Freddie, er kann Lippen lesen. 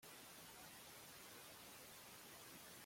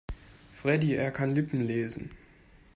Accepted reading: second